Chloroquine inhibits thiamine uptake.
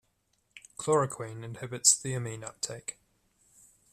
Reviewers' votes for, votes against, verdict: 0, 2, rejected